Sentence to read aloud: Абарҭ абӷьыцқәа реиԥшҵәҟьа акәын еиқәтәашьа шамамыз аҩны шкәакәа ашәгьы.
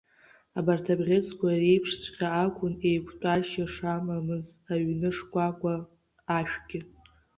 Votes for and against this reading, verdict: 0, 2, rejected